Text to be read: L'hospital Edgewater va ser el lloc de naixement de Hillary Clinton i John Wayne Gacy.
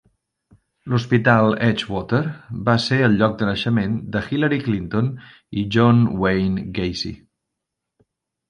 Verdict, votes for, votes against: accepted, 2, 0